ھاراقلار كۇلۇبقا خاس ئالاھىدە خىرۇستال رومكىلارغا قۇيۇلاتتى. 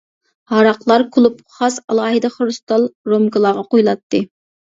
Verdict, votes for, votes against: rejected, 0, 2